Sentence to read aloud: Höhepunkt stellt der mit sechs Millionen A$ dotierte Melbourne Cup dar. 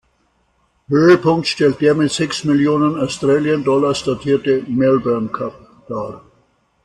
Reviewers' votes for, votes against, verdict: 2, 0, accepted